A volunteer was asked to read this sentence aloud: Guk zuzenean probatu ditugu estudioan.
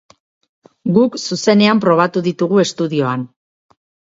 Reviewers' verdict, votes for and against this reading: accepted, 4, 0